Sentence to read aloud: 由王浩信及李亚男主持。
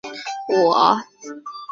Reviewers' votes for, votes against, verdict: 0, 2, rejected